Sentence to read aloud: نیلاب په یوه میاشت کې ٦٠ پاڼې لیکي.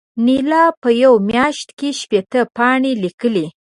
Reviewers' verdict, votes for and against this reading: rejected, 0, 2